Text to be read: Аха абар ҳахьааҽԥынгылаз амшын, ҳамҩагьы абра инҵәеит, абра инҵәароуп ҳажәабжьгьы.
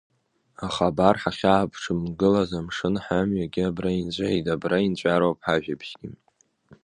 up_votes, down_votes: 1, 2